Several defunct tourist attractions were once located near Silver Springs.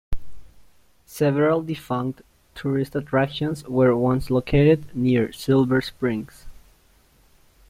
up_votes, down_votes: 2, 1